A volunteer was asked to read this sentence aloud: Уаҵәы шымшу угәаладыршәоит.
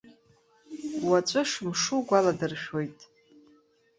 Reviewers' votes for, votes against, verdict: 1, 2, rejected